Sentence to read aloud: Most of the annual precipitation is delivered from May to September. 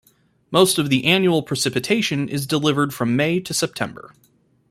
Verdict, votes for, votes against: accepted, 2, 0